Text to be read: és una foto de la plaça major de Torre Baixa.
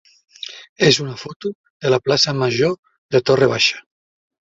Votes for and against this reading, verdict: 0, 2, rejected